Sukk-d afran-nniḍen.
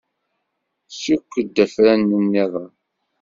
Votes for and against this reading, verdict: 0, 2, rejected